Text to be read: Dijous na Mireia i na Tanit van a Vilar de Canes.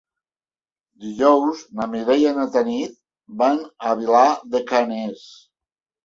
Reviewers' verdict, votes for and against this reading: accepted, 2, 0